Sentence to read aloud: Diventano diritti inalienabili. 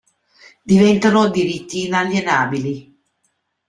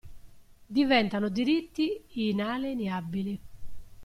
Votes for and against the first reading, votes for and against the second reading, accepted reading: 2, 0, 0, 2, first